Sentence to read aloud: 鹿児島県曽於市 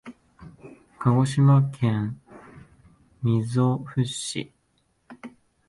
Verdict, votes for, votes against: rejected, 0, 2